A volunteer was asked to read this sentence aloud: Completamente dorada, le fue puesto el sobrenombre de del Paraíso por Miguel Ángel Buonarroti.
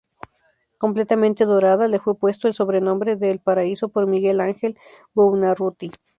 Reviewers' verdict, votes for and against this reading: rejected, 0, 2